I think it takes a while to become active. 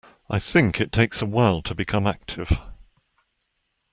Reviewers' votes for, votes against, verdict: 2, 0, accepted